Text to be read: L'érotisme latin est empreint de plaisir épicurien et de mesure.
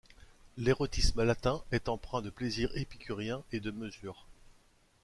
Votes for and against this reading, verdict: 2, 0, accepted